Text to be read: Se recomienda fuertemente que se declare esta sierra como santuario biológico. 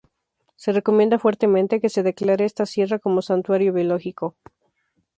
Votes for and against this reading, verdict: 2, 0, accepted